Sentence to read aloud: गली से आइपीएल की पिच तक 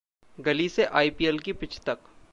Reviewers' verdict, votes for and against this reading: accepted, 2, 0